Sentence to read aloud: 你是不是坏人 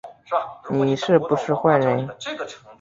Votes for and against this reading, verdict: 1, 2, rejected